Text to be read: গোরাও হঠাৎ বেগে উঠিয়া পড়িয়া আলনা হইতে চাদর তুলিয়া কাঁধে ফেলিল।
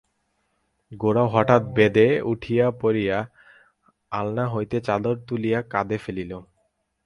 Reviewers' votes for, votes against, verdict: 4, 4, rejected